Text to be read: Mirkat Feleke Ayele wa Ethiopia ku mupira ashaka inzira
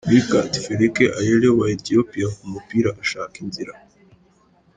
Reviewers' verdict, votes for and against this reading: accepted, 2, 0